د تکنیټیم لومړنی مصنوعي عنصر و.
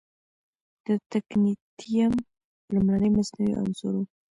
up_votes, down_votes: 1, 2